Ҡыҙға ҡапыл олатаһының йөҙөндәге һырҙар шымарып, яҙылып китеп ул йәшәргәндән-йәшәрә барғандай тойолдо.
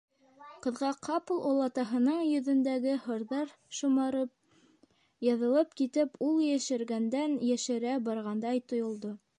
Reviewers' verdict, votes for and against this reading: rejected, 1, 2